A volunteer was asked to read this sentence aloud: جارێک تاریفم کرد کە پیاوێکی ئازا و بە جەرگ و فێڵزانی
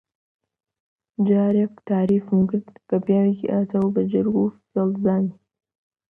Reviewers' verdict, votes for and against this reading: accepted, 2, 0